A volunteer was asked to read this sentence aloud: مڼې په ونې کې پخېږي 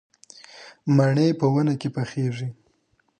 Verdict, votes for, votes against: rejected, 1, 2